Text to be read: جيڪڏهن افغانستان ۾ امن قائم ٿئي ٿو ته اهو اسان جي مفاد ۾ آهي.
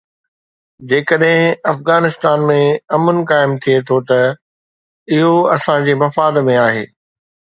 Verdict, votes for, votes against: accepted, 2, 0